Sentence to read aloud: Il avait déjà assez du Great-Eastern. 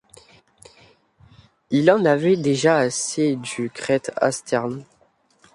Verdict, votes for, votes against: rejected, 0, 2